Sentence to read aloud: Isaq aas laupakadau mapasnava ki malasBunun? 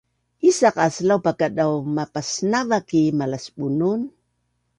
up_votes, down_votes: 2, 0